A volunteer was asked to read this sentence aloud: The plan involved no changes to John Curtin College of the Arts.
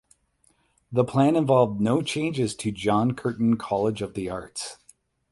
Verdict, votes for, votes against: accepted, 8, 0